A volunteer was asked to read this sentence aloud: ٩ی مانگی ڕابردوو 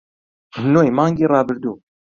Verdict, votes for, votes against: rejected, 0, 2